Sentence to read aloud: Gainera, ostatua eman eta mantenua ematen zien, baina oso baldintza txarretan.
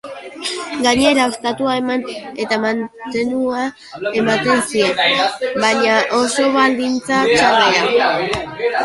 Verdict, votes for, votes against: rejected, 4, 4